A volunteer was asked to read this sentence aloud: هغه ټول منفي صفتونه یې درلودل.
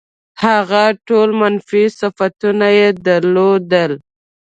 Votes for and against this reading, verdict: 2, 0, accepted